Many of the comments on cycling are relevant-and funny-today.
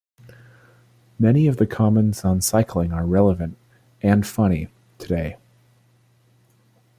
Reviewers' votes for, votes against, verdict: 2, 0, accepted